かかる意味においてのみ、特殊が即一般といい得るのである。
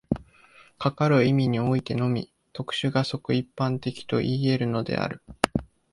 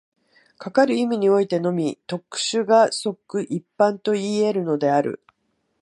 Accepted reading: second